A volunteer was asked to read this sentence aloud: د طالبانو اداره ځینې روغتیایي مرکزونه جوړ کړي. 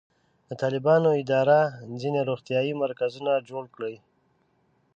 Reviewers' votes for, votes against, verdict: 0, 2, rejected